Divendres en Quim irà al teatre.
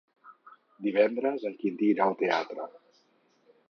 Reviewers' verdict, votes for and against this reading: rejected, 2, 4